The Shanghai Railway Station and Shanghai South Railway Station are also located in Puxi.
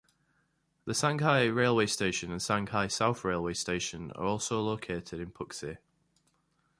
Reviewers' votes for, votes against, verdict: 1, 2, rejected